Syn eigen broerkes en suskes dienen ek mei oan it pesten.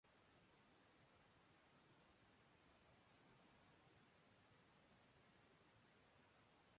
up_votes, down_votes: 0, 2